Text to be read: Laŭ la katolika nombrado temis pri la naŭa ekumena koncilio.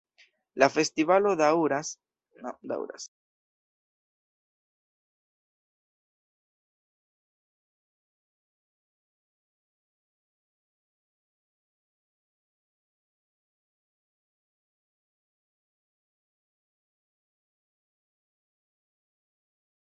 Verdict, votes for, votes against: rejected, 0, 2